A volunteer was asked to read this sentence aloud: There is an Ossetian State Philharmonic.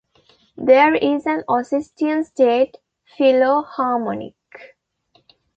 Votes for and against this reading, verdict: 1, 2, rejected